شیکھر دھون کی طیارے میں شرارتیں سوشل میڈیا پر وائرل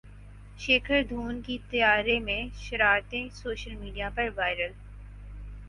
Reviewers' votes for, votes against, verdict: 6, 0, accepted